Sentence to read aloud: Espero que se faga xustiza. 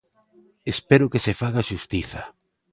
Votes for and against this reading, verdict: 2, 0, accepted